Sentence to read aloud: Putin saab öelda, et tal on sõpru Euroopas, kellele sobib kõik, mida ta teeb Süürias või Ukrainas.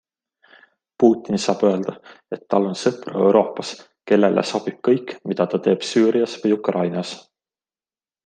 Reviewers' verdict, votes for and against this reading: accepted, 2, 0